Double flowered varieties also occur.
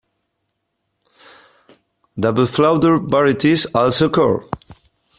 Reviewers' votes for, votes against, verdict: 0, 2, rejected